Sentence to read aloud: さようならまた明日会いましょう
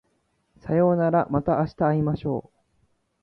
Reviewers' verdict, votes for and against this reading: accepted, 2, 0